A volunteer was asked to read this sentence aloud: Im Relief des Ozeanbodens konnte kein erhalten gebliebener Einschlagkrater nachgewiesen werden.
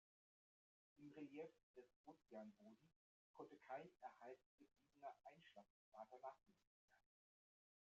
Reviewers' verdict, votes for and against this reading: rejected, 1, 2